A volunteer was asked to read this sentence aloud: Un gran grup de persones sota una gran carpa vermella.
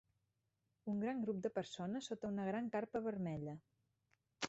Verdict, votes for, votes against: accepted, 3, 0